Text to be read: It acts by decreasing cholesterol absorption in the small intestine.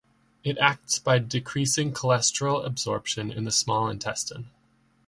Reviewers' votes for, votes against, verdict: 2, 0, accepted